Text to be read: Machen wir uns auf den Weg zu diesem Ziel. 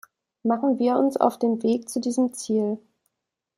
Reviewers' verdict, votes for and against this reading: accepted, 2, 0